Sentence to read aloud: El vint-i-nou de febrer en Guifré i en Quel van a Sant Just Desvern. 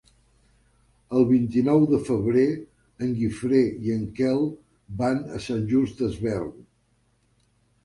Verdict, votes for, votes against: accepted, 3, 0